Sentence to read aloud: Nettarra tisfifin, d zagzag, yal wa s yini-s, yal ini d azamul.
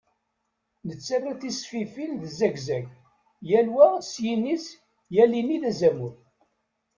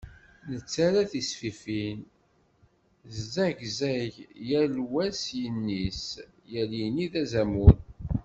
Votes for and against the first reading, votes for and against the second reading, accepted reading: 2, 0, 0, 2, first